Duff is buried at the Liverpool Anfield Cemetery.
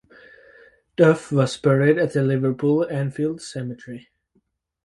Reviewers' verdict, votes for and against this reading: rejected, 0, 4